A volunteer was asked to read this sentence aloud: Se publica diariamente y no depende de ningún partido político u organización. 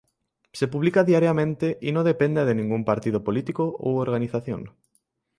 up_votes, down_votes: 2, 0